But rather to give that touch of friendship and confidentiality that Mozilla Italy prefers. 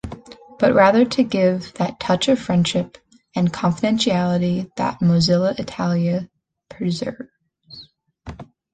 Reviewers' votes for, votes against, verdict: 1, 2, rejected